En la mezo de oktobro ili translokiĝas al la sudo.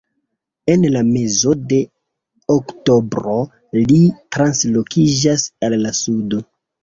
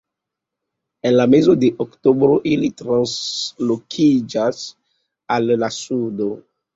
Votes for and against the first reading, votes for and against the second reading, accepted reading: 0, 2, 2, 0, second